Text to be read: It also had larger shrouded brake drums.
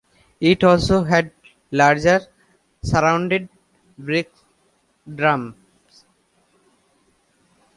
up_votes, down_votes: 0, 2